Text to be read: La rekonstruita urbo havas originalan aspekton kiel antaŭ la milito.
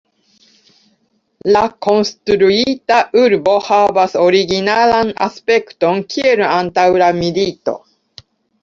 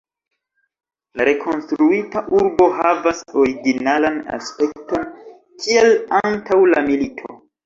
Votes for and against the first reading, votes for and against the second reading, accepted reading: 1, 2, 2, 1, second